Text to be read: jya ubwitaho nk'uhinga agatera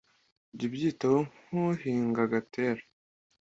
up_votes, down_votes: 2, 0